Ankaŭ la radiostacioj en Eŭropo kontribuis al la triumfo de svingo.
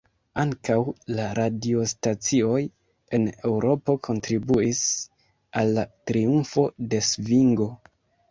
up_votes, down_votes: 2, 1